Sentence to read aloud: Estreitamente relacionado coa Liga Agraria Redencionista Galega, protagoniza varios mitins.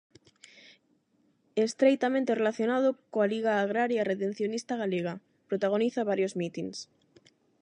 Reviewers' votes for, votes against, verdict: 8, 0, accepted